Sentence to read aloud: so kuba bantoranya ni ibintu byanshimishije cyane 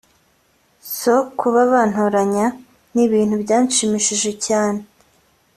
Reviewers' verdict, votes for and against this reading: rejected, 0, 2